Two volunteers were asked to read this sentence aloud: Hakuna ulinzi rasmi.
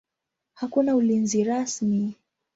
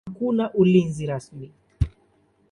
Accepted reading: second